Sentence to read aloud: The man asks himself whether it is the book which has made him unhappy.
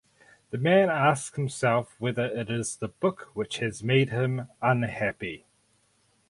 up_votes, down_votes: 0, 4